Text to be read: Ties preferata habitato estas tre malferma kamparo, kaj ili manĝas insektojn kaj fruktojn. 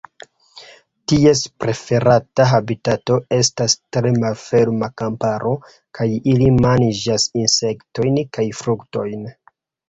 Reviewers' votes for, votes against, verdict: 1, 2, rejected